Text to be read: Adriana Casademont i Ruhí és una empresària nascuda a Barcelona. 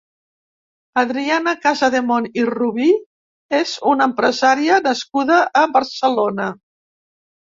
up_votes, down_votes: 0, 3